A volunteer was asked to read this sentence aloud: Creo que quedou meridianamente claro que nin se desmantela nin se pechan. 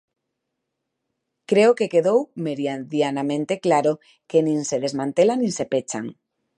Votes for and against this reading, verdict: 0, 2, rejected